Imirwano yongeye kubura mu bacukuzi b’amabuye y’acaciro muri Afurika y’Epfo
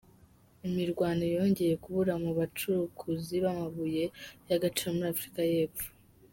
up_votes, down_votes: 0, 3